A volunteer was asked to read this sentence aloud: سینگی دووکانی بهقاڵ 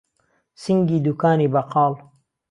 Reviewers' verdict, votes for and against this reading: accepted, 2, 0